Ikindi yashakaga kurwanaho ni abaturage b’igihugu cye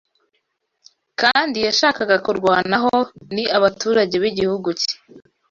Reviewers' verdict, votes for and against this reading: rejected, 0, 2